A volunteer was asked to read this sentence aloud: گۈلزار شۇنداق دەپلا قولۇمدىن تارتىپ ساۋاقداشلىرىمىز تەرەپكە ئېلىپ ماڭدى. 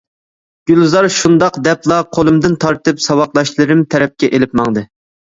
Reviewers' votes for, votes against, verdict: 0, 2, rejected